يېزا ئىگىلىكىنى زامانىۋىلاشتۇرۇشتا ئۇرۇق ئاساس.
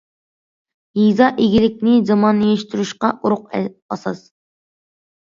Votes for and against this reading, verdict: 0, 2, rejected